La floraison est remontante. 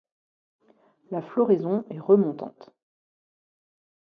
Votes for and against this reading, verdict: 2, 0, accepted